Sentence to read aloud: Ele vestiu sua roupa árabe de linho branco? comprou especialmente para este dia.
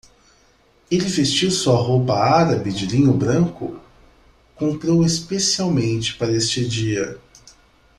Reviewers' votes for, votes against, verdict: 2, 0, accepted